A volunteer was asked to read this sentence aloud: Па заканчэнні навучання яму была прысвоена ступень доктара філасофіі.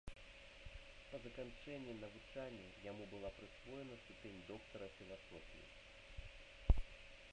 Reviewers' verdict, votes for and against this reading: rejected, 1, 2